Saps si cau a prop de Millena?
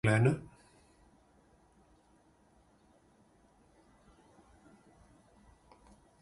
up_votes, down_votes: 0, 2